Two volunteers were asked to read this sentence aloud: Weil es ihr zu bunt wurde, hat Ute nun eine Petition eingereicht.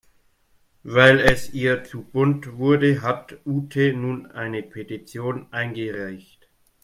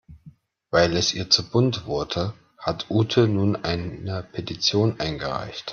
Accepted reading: first